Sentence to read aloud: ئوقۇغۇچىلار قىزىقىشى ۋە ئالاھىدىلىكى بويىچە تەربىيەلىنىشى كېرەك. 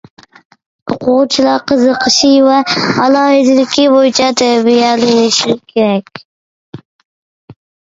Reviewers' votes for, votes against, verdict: 1, 2, rejected